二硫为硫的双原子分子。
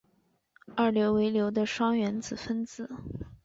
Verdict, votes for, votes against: accepted, 2, 0